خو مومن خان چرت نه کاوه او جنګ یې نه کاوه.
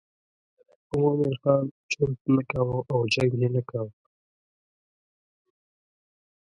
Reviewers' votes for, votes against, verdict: 0, 2, rejected